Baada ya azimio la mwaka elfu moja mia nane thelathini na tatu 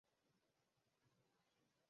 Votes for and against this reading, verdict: 0, 2, rejected